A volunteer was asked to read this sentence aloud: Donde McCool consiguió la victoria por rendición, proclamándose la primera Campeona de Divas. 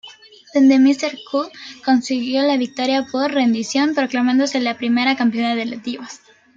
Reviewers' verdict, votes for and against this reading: rejected, 1, 2